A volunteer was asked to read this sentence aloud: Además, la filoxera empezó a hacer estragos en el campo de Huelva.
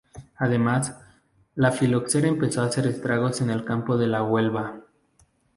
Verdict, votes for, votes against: rejected, 0, 2